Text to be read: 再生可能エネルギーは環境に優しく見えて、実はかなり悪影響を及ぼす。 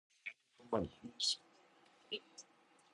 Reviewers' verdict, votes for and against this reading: rejected, 1, 2